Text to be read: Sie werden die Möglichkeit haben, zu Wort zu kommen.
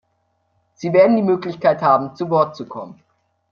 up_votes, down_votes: 2, 0